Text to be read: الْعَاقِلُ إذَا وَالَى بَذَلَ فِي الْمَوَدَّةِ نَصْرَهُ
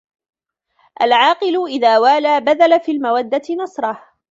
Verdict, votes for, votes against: rejected, 0, 2